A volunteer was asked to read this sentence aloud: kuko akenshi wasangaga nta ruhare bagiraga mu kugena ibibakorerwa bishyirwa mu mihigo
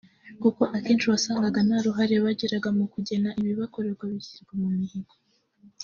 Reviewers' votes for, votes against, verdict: 1, 2, rejected